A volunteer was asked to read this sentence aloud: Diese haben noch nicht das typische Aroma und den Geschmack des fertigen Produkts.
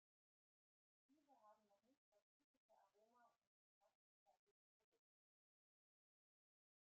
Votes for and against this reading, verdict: 0, 2, rejected